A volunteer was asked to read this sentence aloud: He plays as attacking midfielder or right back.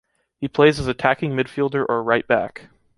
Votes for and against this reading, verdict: 2, 0, accepted